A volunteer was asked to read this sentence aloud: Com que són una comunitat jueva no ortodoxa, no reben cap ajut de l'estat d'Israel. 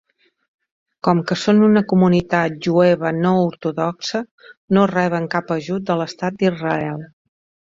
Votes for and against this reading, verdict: 2, 0, accepted